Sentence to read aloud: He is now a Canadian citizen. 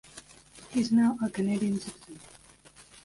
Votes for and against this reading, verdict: 1, 2, rejected